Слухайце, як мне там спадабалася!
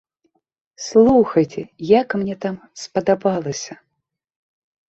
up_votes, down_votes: 2, 0